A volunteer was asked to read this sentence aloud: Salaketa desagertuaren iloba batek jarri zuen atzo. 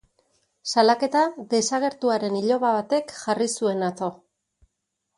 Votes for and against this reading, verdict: 4, 0, accepted